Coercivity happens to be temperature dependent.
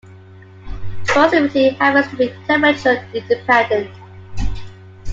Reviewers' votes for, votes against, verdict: 0, 2, rejected